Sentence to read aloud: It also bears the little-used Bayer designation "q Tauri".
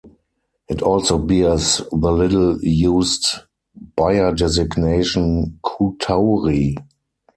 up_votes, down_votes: 4, 0